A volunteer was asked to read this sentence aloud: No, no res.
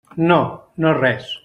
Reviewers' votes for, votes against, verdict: 3, 0, accepted